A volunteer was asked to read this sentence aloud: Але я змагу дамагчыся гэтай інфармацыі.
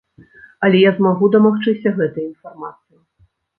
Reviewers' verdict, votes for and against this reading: rejected, 1, 2